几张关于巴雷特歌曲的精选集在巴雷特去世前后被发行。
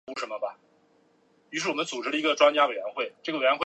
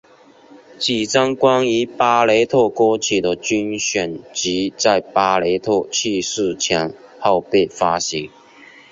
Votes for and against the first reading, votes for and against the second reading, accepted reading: 0, 2, 5, 1, second